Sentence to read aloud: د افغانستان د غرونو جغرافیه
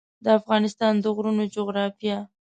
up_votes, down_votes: 2, 0